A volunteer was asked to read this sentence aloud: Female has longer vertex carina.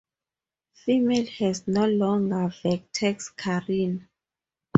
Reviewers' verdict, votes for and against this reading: rejected, 2, 2